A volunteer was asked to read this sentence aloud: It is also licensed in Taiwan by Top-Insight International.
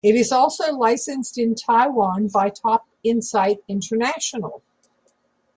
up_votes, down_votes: 2, 0